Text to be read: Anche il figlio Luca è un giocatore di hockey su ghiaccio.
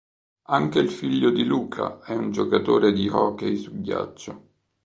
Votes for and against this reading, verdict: 0, 2, rejected